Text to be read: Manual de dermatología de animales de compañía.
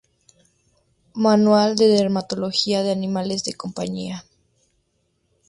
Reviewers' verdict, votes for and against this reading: accepted, 2, 0